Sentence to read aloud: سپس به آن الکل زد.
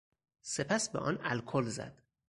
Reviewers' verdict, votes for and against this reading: accepted, 4, 0